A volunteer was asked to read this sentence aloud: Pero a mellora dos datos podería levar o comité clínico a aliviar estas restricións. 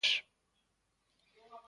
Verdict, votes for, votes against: rejected, 0, 2